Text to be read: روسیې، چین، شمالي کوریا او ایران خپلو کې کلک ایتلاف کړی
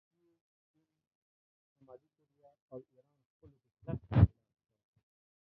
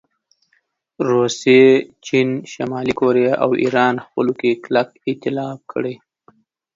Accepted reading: second